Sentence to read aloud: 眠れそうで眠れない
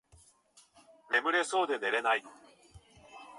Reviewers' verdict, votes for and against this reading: rejected, 0, 2